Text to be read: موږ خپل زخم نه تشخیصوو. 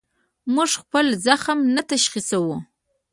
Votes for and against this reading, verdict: 2, 0, accepted